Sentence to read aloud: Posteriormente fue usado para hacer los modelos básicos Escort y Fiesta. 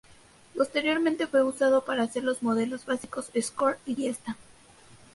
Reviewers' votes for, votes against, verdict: 2, 0, accepted